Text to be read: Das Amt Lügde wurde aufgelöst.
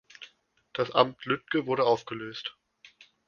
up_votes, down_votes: 2, 0